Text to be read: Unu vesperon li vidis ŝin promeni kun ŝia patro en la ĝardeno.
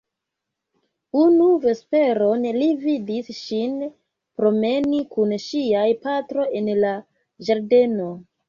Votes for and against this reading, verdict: 1, 3, rejected